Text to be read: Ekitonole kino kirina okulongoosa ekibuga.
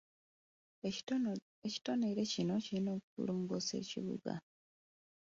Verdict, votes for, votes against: accepted, 2, 1